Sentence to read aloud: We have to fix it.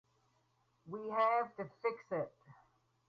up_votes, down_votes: 2, 4